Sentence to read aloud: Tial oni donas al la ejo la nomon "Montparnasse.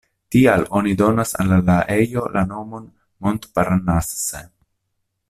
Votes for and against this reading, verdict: 0, 2, rejected